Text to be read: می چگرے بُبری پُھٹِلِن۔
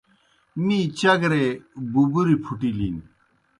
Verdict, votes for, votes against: accepted, 2, 0